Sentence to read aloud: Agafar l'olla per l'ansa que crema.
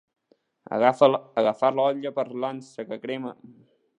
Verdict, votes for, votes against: rejected, 1, 2